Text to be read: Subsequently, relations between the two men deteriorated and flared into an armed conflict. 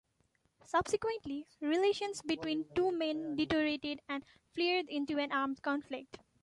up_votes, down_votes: 2, 1